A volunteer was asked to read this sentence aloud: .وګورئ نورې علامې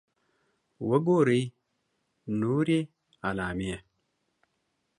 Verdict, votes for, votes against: accepted, 2, 0